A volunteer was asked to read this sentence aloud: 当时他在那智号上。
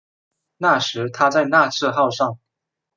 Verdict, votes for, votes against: rejected, 0, 2